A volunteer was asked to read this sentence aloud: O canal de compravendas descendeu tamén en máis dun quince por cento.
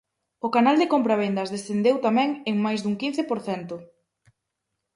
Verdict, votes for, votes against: accepted, 4, 0